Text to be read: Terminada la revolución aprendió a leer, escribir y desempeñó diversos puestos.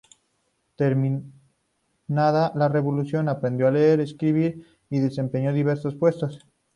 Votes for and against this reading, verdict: 2, 2, rejected